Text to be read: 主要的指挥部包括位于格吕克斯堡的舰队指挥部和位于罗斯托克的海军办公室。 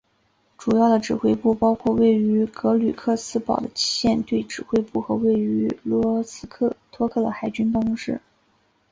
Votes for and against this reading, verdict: 4, 0, accepted